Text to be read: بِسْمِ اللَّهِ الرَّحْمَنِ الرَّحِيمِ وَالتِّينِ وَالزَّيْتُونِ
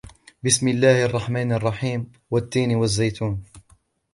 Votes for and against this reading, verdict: 2, 0, accepted